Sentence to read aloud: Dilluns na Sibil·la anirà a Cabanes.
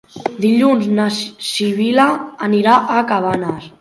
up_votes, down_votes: 0, 3